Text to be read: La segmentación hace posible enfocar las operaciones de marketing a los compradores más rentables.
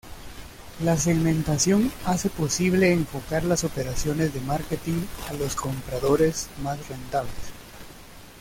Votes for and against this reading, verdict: 2, 0, accepted